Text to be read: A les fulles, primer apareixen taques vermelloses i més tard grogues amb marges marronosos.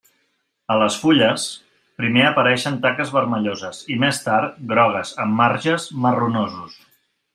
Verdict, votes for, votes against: accepted, 3, 0